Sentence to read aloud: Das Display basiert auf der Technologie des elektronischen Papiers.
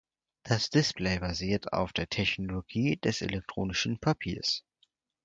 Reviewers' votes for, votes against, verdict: 4, 0, accepted